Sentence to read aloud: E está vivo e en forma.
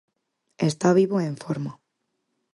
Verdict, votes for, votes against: accepted, 4, 0